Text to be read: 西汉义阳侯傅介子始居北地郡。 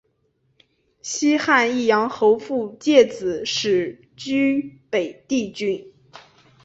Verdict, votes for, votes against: accepted, 4, 0